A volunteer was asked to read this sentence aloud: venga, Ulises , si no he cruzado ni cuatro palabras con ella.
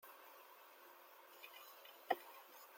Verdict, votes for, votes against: rejected, 0, 2